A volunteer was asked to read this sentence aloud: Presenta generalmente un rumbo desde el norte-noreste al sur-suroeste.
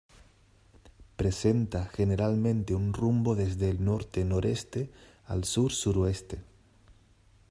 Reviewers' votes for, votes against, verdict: 2, 0, accepted